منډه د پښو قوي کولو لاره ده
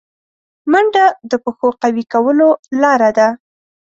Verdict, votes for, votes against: accepted, 2, 0